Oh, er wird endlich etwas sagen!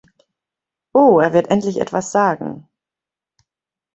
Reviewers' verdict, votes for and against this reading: accepted, 2, 0